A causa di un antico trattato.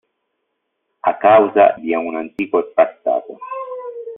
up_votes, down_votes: 1, 2